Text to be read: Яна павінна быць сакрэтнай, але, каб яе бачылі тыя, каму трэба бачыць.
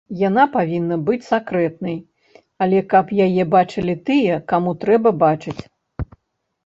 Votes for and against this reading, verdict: 2, 0, accepted